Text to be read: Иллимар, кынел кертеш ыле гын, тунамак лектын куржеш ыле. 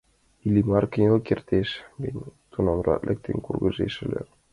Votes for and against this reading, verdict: 0, 2, rejected